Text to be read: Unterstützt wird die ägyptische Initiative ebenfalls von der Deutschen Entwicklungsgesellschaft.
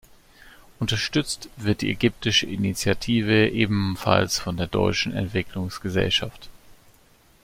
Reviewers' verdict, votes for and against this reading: accepted, 2, 0